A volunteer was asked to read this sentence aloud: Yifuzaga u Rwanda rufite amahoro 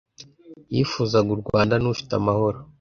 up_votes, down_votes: 1, 2